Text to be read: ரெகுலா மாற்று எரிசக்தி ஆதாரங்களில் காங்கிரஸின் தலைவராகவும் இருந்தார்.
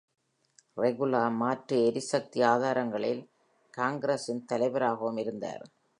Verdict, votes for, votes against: accepted, 4, 0